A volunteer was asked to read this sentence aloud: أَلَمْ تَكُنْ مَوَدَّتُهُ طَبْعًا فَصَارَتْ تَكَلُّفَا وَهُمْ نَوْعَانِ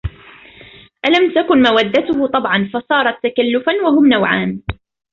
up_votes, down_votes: 2, 0